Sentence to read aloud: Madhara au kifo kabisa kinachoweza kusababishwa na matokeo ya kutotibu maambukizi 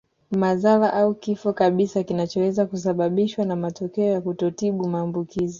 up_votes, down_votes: 2, 0